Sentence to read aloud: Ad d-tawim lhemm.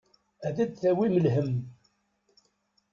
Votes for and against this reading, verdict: 1, 2, rejected